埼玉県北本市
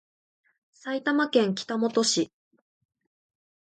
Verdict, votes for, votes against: accepted, 2, 1